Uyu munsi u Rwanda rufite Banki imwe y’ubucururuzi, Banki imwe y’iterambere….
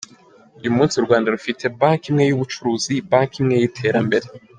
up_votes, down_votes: 2, 1